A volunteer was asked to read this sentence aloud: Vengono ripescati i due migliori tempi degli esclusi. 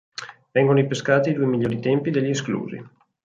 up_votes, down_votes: 2, 4